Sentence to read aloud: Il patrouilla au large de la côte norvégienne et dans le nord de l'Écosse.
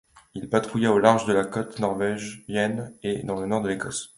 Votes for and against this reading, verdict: 0, 2, rejected